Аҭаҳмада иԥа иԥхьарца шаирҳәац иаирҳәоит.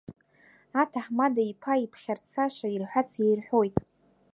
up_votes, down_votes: 1, 2